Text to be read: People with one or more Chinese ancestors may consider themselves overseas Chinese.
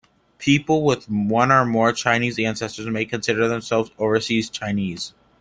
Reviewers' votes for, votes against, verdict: 2, 0, accepted